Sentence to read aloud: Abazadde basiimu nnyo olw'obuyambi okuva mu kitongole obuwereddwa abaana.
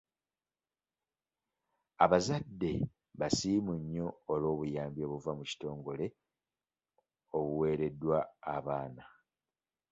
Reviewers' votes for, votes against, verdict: 1, 2, rejected